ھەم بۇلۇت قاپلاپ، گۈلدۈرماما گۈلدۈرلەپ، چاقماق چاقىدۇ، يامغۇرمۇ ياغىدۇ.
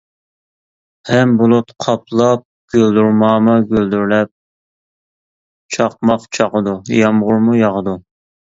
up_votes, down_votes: 2, 0